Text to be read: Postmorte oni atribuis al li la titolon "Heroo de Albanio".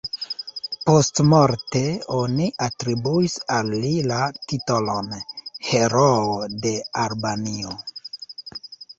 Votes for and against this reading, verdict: 0, 2, rejected